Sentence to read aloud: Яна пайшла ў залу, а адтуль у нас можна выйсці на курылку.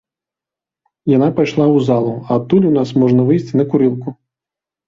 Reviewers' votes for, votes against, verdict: 1, 2, rejected